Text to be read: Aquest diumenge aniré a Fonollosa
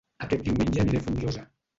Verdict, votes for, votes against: rejected, 0, 2